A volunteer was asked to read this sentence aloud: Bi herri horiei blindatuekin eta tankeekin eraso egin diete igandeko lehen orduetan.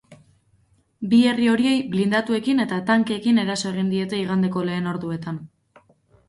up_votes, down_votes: 2, 0